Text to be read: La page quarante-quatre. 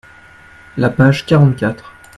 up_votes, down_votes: 2, 0